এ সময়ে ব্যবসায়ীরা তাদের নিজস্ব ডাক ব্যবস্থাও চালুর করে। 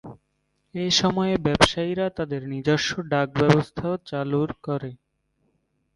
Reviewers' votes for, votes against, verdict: 6, 1, accepted